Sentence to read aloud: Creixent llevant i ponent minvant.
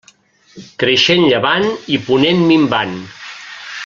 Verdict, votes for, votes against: accepted, 3, 1